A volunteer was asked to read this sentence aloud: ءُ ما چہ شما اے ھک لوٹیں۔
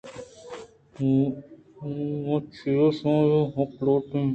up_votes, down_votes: 2, 0